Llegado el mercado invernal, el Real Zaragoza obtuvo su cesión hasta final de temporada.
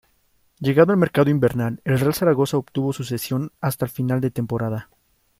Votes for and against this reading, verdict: 2, 0, accepted